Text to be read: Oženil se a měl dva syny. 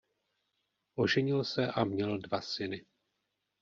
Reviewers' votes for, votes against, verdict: 1, 2, rejected